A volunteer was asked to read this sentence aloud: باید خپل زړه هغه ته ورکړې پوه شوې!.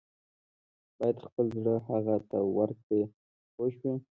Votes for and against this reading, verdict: 2, 0, accepted